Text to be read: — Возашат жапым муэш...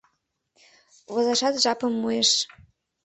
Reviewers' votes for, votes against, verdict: 2, 0, accepted